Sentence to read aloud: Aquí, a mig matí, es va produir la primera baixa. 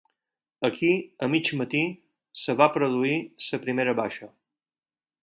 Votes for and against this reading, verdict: 0, 4, rejected